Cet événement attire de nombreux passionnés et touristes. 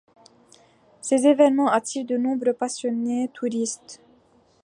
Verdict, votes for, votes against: rejected, 1, 2